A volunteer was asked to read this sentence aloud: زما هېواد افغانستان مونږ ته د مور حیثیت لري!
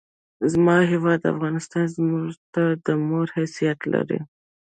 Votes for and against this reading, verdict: 0, 2, rejected